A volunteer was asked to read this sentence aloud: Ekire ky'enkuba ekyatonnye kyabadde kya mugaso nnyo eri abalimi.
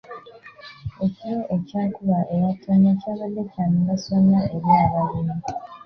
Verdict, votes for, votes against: rejected, 1, 2